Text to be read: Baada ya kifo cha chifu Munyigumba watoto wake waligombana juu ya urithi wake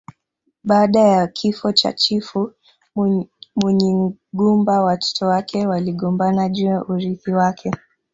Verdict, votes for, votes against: rejected, 1, 2